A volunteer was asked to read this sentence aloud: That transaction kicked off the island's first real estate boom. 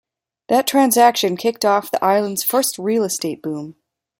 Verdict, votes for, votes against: accepted, 2, 0